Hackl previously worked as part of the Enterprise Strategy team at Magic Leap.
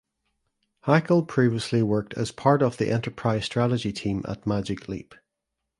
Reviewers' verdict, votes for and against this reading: accepted, 2, 0